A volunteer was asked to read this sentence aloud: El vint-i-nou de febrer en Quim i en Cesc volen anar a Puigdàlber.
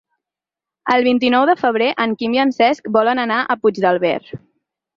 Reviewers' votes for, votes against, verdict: 4, 2, accepted